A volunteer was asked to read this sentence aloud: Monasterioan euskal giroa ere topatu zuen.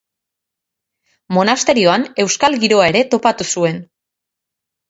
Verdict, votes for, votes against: accepted, 6, 0